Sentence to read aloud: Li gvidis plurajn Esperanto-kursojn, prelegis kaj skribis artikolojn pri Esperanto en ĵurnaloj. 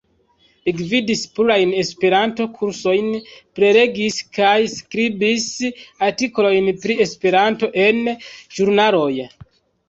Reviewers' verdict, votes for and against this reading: accepted, 2, 1